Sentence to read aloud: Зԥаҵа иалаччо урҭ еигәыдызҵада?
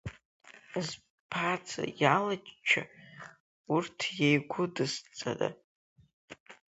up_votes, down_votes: 1, 4